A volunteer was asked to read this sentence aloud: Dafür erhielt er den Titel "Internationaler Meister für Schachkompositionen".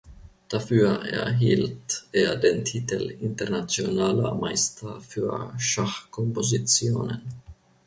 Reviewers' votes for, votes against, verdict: 2, 0, accepted